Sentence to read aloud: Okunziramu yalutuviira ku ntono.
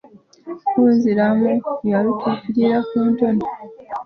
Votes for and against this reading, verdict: 2, 0, accepted